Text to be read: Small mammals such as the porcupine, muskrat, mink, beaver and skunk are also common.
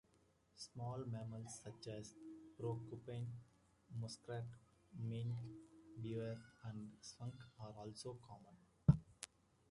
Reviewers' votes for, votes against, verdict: 2, 0, accepted